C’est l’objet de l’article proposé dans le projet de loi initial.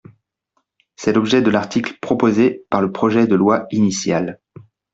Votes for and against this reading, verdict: 0, 2, rejected